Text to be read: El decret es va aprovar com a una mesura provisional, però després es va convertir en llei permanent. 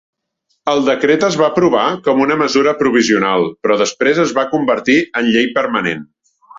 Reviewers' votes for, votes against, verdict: 4, 0, accepted